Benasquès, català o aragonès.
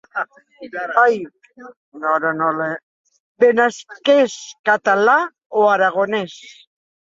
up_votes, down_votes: 0, 2